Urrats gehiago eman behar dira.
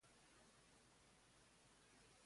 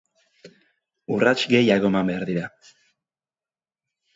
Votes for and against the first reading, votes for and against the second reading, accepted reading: 0, 3, 2, 0, second